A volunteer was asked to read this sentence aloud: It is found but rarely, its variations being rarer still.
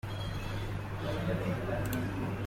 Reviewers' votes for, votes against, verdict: 0, 2, rejected